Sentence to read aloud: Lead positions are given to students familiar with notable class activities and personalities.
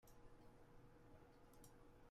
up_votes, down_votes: 0, 2